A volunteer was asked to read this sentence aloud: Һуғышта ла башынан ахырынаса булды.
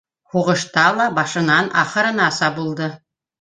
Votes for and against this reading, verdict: 2, 0, accepted